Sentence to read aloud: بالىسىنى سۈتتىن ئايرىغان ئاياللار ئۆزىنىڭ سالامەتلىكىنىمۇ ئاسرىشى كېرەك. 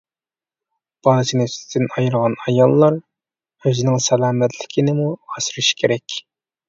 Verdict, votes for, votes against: rejected, 1, 2